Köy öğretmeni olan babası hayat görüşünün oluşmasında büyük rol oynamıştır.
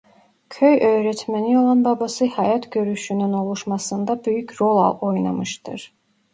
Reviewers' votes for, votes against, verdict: 0, 2, rejected